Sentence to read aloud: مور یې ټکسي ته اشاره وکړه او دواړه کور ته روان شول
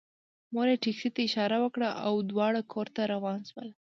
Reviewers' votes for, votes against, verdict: 2, 0, accepted